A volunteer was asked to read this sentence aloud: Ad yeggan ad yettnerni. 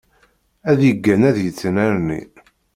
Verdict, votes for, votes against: accepted, 2, 0